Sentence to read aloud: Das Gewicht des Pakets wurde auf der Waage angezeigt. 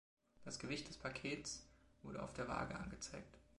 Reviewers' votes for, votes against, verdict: 2, 1, accepted